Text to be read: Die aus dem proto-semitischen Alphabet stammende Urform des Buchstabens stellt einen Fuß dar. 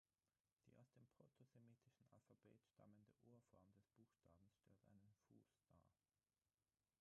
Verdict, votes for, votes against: rejected, 0, 6